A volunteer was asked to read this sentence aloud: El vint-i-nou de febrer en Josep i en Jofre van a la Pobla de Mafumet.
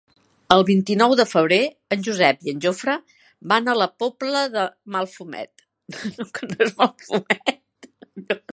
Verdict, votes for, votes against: rejected, 1, 2